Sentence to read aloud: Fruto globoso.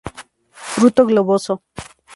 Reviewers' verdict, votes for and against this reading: rejected, 2, 2